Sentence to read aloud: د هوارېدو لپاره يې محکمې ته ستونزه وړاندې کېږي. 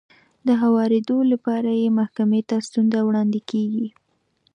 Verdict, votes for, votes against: accepted, 2, 0